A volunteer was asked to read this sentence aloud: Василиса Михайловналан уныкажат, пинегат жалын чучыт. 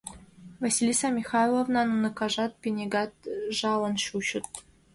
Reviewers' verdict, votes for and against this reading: accepted, 2, 1